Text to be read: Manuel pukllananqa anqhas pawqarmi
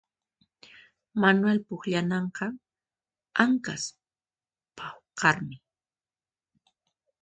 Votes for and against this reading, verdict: 4, 0, accepted